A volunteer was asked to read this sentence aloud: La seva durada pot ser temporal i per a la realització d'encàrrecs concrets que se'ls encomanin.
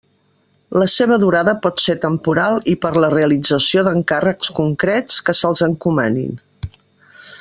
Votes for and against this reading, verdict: 1, 2, rejected